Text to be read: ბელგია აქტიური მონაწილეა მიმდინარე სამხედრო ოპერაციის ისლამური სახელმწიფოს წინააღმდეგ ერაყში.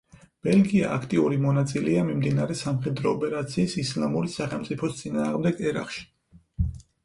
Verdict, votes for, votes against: accepted, 4, 0